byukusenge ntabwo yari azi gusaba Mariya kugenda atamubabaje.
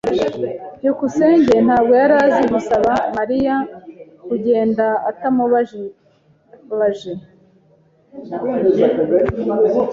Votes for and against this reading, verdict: 3, 1, accepted